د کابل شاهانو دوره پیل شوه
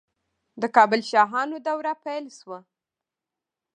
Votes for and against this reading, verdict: 0, 2, rejected